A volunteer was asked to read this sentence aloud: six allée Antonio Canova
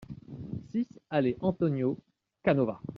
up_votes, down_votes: 2, 0